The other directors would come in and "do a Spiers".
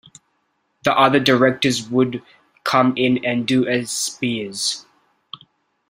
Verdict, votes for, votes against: accepted, 2, 0